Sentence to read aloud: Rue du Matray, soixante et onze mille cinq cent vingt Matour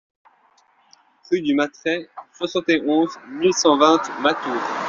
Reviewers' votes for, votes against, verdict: 1, 2, rejected